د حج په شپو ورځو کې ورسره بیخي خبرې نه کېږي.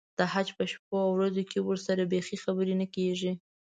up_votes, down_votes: 2, 0